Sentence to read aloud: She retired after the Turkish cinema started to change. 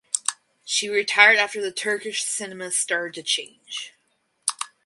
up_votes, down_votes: 0, 2